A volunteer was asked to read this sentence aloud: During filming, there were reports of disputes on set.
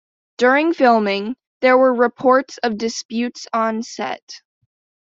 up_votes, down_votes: 2, 0